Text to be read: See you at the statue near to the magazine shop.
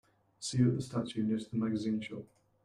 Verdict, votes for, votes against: accepted, 2, 0